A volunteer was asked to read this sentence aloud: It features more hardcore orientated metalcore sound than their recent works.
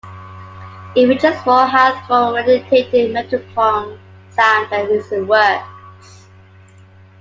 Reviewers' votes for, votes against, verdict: 0, 2, rejected